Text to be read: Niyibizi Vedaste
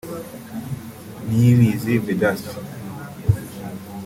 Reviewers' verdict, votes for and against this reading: accepted, 2, 0